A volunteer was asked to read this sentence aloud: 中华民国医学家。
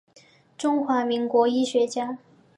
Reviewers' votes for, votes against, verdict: 2, 1, accepted